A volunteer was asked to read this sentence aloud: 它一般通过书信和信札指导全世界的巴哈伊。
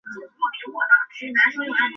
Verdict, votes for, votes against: rejected, 0, 2